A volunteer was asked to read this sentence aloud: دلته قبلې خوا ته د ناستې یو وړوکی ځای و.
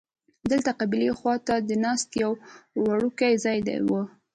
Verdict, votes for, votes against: rejected, 1, 2